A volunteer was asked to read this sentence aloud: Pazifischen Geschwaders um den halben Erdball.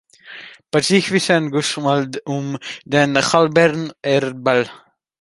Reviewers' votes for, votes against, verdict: 1, 2, rejected